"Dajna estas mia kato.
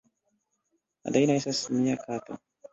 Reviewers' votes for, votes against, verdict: 1, 2, rejected